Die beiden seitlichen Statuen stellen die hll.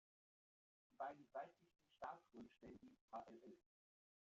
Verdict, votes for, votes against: rejected, 0, 2